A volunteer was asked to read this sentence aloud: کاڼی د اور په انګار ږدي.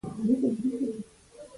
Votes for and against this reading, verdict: 0, 2, rejected